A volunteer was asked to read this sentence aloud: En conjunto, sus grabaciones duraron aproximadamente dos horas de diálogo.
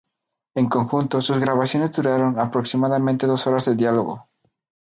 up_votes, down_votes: 0, 2